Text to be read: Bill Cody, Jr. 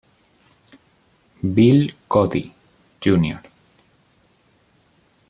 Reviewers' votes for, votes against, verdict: 2, 0, accepted